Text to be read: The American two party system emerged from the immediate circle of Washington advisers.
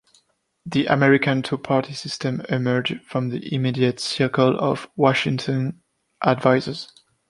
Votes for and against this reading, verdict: 2, 0, accepted